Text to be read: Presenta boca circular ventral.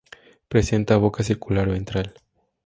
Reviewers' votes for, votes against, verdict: 2, 0, accepted